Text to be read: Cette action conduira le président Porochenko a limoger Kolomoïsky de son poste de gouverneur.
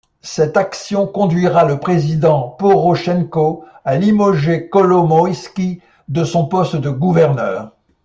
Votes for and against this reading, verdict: 2, 0, accepted